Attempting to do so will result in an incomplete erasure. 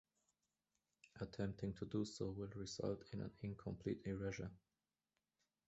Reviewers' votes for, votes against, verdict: 2, 1, accepted